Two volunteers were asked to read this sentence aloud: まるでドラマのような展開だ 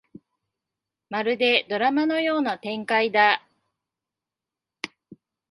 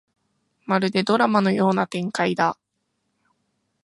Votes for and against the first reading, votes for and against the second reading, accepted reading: 0, 2, 2, 0, second